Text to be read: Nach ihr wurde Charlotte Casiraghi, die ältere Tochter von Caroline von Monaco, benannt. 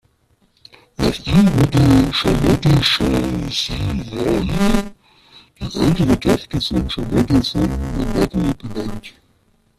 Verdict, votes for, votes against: rejected, 0, 2